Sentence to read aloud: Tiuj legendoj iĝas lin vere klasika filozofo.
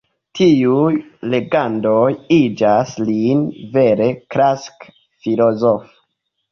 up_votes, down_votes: 0, 2